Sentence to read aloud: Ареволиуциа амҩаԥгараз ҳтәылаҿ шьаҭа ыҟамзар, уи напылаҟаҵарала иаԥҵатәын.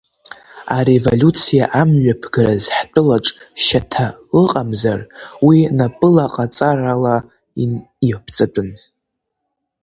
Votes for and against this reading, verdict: 0, 2, rejected